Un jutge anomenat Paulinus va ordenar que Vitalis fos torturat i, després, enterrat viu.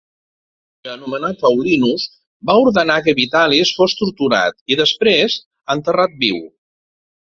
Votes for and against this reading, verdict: 0, 2, rejected